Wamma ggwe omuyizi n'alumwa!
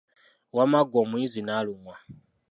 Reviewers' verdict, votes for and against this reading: rejected, 0, 2